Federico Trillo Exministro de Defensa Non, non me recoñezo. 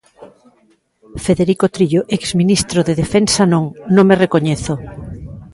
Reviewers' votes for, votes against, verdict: 1, 2, rejected